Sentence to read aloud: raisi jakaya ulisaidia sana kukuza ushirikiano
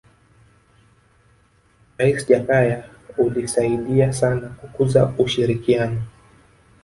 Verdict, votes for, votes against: rejected, 1, 2